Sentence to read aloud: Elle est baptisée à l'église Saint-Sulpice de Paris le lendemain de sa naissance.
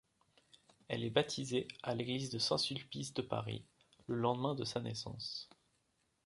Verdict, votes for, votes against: rejected, 0, 2